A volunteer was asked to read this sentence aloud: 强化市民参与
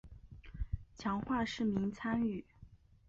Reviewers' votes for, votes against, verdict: 5, 0, accepted